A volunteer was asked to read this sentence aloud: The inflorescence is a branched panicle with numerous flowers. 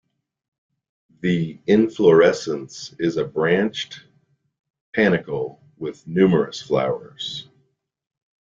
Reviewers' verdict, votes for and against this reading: accepted, 3, 0